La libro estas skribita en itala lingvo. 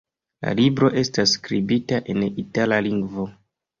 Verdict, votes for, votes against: accepted, 2, 0